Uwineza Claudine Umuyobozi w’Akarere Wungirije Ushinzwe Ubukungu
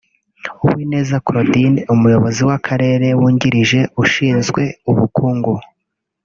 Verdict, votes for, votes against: rejected, 1, 2